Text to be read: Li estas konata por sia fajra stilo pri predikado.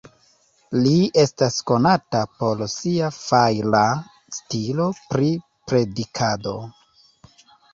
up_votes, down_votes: 1, 2